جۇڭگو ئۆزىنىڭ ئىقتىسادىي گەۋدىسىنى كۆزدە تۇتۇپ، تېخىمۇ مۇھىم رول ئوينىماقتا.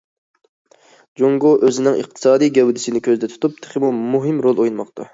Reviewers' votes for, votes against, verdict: 2, 0, accepted